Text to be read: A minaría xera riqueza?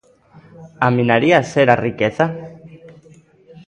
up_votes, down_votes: 2, 0